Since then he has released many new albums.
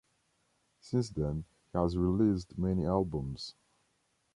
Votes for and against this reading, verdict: 1, 2, rejected